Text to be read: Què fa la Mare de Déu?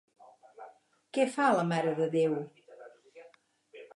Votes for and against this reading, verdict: 6, 0, accepted